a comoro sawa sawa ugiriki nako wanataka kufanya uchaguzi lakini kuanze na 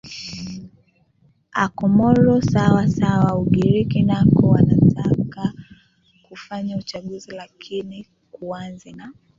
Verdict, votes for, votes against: accepted, 2, 1